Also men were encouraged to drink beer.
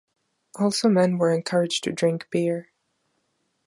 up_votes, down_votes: 2, 0